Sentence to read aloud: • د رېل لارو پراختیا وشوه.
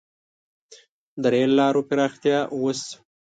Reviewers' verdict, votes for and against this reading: rejected, 0, 2